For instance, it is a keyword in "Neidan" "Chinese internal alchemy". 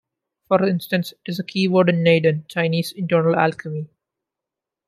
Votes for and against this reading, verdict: 2, 0, accepted